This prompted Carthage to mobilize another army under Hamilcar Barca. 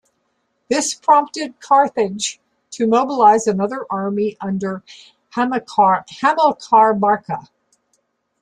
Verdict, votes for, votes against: rejected, 1, 2